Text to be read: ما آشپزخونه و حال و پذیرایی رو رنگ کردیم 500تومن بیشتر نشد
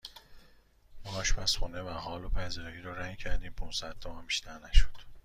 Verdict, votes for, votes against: rejected, 0, 2